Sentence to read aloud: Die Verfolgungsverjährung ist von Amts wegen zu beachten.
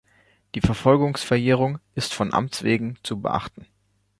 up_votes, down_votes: 2, 0